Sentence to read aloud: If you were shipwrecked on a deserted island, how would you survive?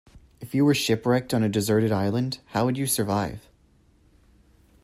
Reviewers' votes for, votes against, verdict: 2, 0, accepted